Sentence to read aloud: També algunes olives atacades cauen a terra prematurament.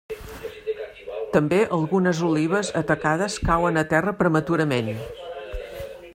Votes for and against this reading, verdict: 2, 1, accepted